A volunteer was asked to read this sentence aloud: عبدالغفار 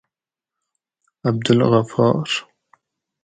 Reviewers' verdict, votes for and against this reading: accepted, 4, 0